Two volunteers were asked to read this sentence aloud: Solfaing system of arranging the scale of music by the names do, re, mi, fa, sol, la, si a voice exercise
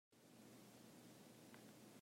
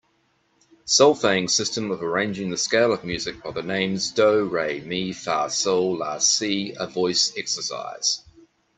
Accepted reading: second